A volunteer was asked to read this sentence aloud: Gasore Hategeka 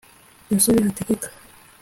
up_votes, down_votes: 2, 0